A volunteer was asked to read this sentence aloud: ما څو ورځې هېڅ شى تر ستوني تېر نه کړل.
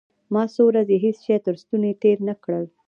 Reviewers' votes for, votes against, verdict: 0, 2, rejected